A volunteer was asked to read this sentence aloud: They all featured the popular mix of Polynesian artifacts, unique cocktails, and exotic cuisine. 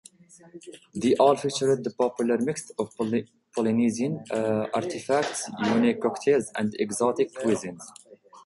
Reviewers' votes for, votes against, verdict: 1, 2, rejected